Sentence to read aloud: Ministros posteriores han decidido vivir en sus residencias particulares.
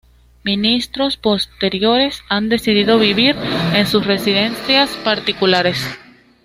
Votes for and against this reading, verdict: 2, 0, accepted